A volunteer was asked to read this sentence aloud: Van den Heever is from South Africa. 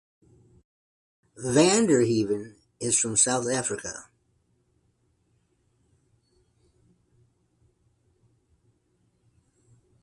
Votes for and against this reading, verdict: 2, 1, accepted